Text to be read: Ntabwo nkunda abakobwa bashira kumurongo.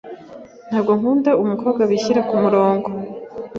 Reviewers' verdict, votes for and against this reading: rejected, 1, 2